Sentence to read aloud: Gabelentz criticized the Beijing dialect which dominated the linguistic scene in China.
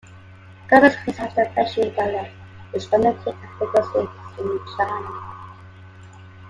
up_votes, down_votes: 2, 1